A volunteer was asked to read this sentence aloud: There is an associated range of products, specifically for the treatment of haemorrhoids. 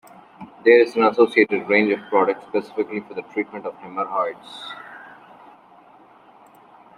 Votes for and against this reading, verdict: 0, 2, rejected